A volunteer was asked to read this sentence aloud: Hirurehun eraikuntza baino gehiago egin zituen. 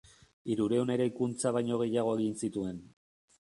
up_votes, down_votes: 2, 0